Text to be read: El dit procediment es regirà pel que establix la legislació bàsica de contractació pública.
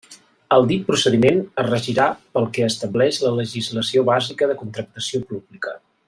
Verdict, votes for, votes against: accepted, 2, 0